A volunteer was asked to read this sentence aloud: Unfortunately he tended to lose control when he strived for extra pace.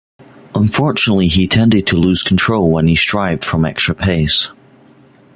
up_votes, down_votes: 1, 2